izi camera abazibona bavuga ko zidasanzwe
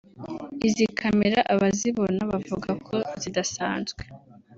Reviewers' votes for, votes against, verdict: 3, 0, accepted